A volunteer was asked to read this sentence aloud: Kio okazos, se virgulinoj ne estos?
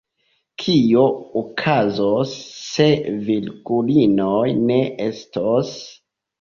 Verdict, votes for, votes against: accepted, 2, 0